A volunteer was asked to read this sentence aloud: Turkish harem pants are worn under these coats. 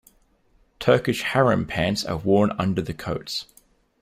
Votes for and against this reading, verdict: 0, 2, rejected